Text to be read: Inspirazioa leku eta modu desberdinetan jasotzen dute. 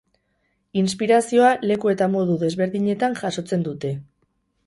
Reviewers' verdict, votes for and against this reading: accepted, 2, 0